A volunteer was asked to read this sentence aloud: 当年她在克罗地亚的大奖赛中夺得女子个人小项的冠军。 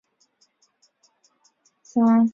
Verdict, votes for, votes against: rejected, 0, 2